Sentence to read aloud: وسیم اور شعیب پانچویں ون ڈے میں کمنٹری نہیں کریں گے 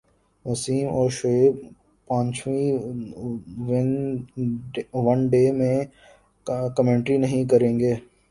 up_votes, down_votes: 1, 2